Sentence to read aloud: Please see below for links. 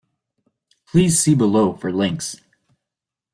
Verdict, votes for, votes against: accepted, 2, 0